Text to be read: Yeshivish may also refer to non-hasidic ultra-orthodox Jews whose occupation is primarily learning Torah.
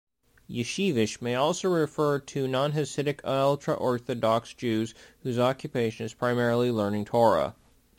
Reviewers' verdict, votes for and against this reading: accepted, 2, 1